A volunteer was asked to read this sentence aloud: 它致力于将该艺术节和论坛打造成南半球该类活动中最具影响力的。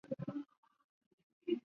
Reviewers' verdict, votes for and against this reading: rejected, 0, 5